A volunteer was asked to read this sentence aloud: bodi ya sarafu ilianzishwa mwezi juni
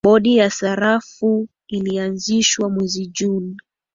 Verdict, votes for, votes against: rejected, 2, 2